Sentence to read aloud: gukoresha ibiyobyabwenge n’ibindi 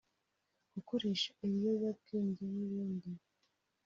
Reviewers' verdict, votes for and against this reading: accepted, 2, 1